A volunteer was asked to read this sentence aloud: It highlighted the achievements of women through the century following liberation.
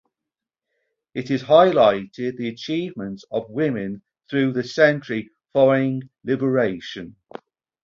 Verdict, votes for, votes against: rejected, 2, 4